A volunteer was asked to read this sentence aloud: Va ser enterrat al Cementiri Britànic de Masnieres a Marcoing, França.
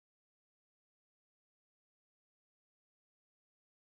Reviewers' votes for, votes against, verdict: 0, 2, rejected